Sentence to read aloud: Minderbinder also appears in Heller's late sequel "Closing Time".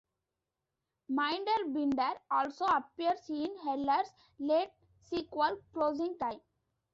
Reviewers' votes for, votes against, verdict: 2, 0, accepted